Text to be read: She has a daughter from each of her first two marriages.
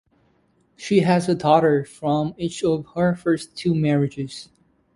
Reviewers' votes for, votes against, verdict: 2, 0, accepted